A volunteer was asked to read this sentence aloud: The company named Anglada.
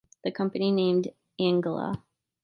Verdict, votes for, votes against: rejected, 1, 2